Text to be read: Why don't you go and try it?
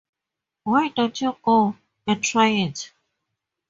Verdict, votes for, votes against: rejected, 0, 2